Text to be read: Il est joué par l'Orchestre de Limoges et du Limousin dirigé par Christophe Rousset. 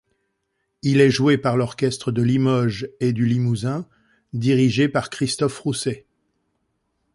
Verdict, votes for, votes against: accepted, 2, 0